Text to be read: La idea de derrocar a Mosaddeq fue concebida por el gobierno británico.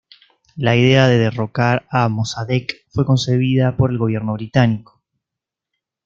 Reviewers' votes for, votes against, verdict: 2, 0, accepted